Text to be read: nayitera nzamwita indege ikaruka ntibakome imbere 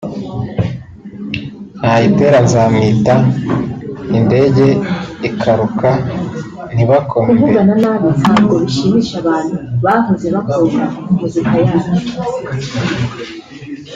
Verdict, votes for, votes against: rejected, 0, 2